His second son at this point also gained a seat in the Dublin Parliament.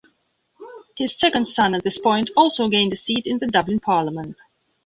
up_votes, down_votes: 1, 2